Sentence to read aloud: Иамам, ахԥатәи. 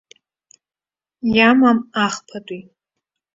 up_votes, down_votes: 2, 0